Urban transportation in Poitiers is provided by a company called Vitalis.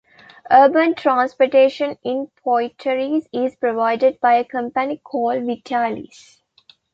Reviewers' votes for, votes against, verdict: 2, 0, accepted